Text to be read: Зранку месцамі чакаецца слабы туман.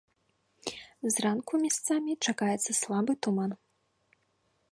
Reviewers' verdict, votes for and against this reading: rejected, 1, 2